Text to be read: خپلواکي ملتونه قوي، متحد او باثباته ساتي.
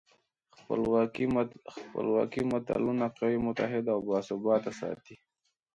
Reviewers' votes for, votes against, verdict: 0, 2, rejected